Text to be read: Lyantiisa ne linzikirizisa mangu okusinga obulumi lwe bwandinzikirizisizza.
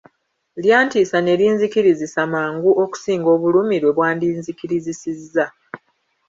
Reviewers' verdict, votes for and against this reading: rejected, 1, 2